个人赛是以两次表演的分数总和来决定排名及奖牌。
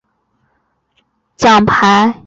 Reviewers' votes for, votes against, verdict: 0, 4, rejected